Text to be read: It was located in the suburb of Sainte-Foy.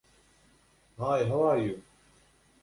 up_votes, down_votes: 0, 2